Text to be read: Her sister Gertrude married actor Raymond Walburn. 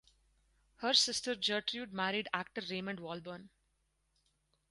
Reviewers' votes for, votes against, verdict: 4, 2, accepted